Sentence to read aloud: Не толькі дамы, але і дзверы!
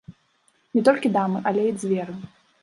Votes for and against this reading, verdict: 1, 2, rejected